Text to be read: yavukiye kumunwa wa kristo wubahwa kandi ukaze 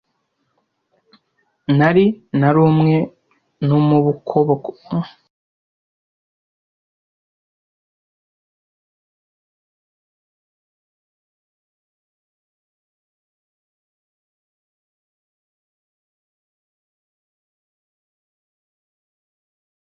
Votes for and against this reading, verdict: 0, 2, rejected